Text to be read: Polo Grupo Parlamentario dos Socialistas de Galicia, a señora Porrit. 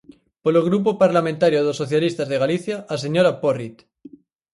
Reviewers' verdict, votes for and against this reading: accepted, 4, 0